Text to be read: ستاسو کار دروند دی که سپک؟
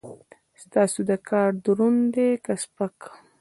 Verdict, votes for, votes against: rejected, 0, 2